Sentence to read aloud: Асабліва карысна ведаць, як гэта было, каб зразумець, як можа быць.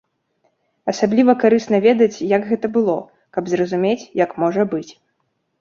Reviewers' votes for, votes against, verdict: 2, 0, accepted